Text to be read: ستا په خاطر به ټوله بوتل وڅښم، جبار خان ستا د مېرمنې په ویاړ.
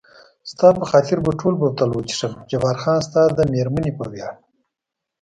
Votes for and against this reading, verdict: 2, 0, accepted